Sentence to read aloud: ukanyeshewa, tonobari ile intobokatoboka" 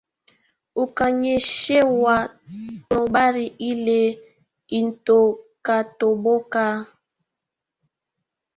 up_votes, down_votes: 1, 2